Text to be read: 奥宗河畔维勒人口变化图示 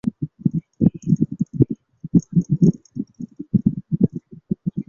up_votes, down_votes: 2, 3